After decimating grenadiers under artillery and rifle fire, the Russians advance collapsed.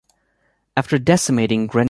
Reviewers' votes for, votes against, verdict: 0, 2, rejected